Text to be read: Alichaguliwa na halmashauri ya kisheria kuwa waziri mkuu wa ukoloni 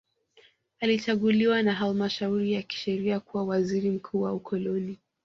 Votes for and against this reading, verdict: 0, 2, rejected